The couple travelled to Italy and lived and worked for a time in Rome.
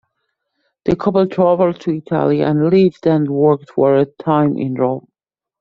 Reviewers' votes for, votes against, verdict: 1, 2, rejected